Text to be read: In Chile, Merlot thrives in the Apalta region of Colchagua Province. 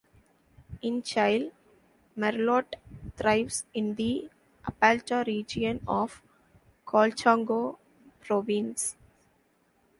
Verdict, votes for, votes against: rejected, 0, 2